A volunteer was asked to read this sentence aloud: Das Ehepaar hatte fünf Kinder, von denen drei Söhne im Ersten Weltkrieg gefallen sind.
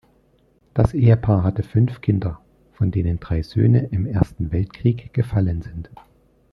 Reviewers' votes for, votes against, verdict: 2, 0, accepted